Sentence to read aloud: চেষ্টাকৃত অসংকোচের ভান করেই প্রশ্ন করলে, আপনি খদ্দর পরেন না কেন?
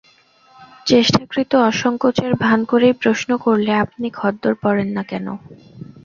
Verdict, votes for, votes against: rejected, 2, 4